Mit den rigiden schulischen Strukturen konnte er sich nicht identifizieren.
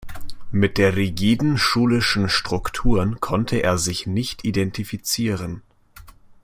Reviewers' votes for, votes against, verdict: 0, 2, rejected